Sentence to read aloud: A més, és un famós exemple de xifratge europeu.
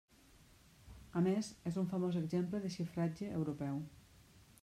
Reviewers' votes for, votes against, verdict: 0, 2, rejected